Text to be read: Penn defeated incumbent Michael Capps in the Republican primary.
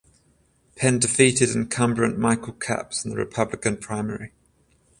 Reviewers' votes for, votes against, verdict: 7, 7, rejected